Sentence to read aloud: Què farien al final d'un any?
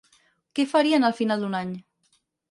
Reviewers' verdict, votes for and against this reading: accepted, 4, 0